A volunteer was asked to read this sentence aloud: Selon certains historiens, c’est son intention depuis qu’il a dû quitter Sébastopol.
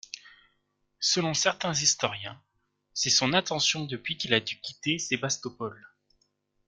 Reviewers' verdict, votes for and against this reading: accepted, 2, 0